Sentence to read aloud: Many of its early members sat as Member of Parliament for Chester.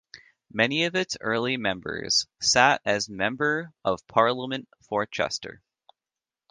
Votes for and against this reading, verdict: 1, 2, rejected